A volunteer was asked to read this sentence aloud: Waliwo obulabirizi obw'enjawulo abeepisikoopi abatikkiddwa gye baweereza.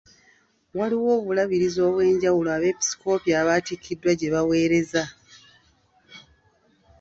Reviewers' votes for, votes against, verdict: 2, 0, accepted